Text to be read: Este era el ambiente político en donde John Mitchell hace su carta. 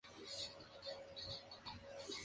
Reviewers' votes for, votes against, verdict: 0, 2, rejected